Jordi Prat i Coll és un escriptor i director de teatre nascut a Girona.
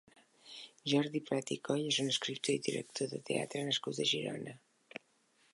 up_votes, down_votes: 2, 0